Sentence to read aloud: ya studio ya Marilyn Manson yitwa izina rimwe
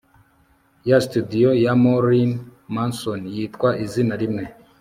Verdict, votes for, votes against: accepted, 3, 0